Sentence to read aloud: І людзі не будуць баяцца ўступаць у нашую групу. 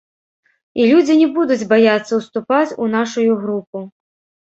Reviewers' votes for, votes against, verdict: 1, 2, rejected